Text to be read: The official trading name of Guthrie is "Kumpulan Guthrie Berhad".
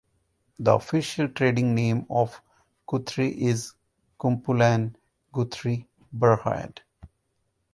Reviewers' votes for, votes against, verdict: 4, 0, accepted